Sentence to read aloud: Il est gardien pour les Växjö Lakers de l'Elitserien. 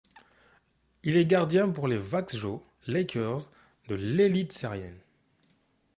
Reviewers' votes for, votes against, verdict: 2, 0, accepted